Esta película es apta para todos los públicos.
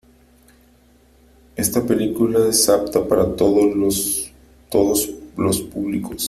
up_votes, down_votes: 0, 3